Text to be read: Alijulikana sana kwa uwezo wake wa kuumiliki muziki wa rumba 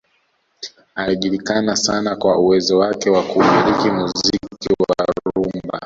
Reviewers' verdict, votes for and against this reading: rejected, 1, 2